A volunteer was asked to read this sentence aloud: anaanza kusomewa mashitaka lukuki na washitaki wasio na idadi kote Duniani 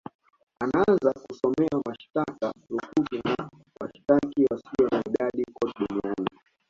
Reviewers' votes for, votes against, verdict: 2, 0, accepted